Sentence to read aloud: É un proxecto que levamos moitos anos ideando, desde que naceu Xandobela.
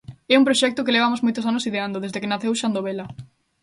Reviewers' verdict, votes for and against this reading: rejected, 1, 2